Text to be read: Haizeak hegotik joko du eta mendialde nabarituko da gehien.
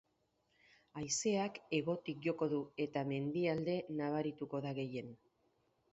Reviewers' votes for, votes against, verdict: 10, 2, accepted